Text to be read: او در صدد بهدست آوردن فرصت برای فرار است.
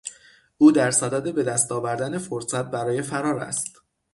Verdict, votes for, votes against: accepted, 6, 0